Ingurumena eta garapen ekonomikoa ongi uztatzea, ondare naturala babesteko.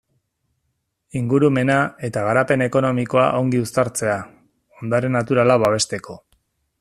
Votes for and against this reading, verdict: 1, 2, rejected